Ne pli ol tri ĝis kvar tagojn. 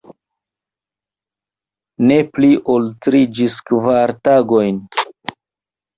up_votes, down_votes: 2, 1